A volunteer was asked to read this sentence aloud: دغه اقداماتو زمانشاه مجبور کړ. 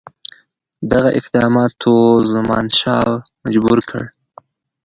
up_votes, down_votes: 1, 2